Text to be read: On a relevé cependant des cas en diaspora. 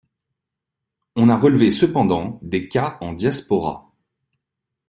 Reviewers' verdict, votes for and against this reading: accepted, 2, 0